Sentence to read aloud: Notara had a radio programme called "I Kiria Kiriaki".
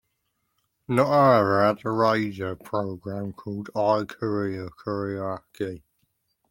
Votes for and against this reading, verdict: 0, 2, rejected